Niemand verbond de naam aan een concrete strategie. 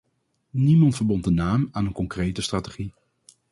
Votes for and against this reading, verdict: 2, 2, rejected